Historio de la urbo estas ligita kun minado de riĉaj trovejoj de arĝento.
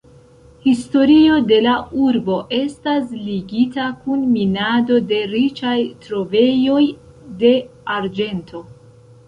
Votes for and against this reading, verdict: 1, 2, rejected